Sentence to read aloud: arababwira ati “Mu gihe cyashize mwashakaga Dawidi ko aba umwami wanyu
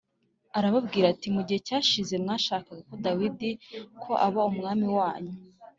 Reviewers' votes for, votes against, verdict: 2, 0, accepted